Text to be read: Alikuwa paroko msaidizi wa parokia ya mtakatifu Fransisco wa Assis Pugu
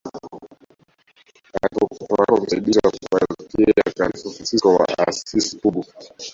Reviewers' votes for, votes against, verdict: 0, 2, rejected